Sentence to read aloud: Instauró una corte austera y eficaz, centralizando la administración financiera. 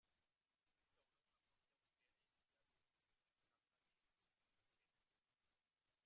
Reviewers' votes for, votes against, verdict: 0, 2, rejected